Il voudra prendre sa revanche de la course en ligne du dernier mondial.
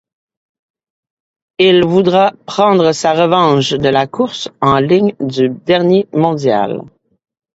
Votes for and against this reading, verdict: 2, 0, accepted